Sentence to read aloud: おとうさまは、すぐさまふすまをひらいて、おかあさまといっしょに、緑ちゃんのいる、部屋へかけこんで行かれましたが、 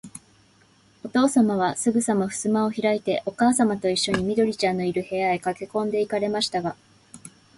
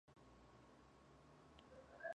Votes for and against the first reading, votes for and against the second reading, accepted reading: 2, 0, 0, 2, first